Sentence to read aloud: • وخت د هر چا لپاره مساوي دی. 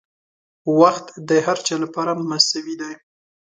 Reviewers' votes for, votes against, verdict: 2, 0, accepted